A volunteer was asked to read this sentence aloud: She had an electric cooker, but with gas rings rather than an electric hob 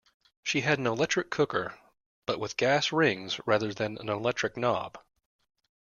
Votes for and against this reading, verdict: 0, 2, rejected